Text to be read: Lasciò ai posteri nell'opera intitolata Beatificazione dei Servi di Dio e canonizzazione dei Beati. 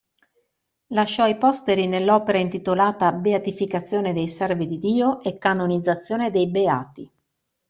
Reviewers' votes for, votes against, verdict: 2, 0, accepted